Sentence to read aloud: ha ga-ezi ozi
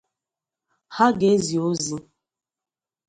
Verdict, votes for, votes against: accepted, 2, 0